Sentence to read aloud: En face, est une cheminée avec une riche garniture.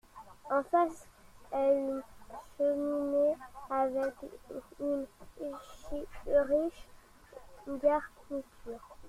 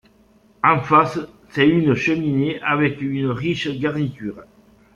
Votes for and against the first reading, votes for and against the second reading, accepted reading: 2, 1, 0, 2, first